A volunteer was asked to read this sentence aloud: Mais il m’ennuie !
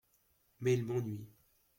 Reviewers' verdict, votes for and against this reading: rejected, 0, 2